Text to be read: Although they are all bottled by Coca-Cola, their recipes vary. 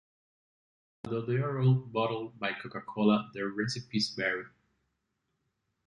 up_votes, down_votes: 2, 1